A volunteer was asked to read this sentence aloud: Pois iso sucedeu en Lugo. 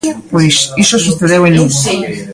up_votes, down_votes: 1, 2